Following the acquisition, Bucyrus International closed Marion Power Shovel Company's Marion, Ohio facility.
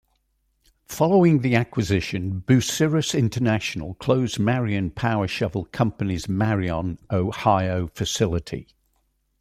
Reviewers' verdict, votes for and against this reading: rejected, 0, 2